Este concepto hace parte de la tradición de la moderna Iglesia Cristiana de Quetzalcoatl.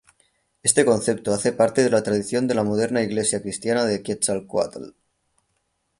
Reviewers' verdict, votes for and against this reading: rejected, 0, 3